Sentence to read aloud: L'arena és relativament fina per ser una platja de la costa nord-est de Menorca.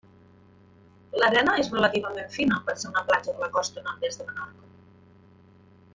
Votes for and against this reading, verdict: 1, 2, rejected